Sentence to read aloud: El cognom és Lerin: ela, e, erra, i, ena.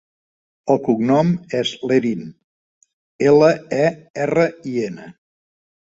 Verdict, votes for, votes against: accepted, 3, 0